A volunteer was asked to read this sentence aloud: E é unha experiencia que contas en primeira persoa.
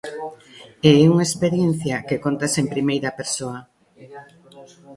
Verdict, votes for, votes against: rejected, 1, 2